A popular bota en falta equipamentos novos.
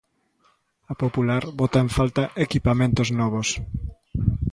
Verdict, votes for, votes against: accepted, 2, 0